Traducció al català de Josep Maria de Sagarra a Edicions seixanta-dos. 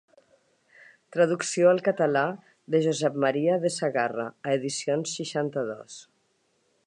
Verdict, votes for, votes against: accepted, 3, 0